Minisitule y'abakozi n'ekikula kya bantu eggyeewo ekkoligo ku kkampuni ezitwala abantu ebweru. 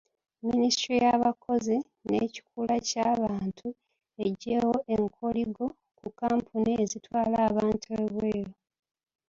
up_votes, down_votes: 2, 0